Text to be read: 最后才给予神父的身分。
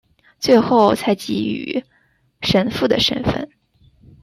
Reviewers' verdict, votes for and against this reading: accepted, 2, 0